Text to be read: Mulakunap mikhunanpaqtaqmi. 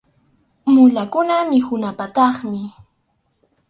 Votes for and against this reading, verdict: 2, 2, rejected